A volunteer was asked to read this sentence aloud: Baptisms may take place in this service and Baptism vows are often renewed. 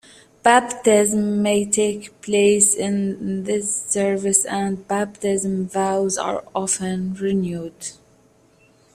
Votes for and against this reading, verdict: 2, 0, accepted